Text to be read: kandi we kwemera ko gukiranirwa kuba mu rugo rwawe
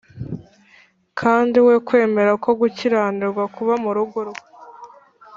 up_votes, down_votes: 0, 2